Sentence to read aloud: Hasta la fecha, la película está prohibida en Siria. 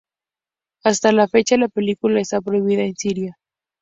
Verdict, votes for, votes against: accepted, 2, 0